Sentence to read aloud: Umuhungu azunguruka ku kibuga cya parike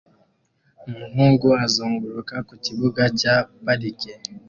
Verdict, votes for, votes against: accepted, 2, 0